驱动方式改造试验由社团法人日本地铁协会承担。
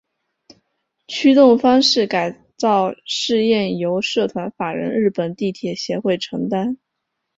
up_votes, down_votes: 4, 1